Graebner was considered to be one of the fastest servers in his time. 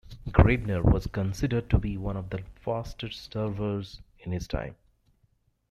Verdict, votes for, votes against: rejected, 1, 2